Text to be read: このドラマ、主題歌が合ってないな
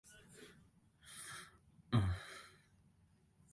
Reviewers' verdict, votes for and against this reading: rejected, 0, 2